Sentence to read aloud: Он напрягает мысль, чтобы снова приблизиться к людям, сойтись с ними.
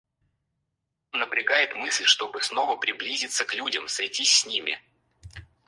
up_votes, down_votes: 2, 4